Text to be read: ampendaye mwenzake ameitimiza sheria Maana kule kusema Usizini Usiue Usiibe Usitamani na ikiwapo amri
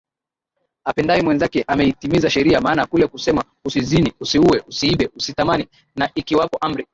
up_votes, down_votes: 4, 8